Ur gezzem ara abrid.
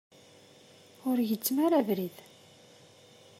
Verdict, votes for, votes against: accepted, 2, 0